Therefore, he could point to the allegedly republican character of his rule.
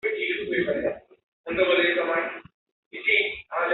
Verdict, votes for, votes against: rejected, 0, 2